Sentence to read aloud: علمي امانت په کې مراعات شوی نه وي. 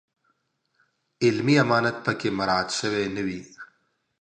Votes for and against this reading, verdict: 2, 0, accepted